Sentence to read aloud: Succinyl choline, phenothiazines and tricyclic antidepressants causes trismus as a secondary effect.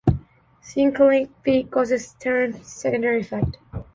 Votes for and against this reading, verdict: 0, 2, rejected